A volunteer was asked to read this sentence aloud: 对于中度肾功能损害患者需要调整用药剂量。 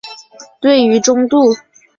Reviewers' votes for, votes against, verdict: 1, 6, rejected